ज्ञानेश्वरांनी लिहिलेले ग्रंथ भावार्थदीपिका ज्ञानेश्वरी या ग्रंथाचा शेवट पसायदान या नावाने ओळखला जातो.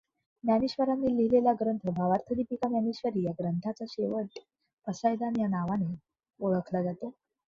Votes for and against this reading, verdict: 2, 1, accepted